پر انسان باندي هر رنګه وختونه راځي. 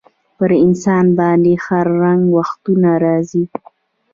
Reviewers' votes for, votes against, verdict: 1, 2, rejected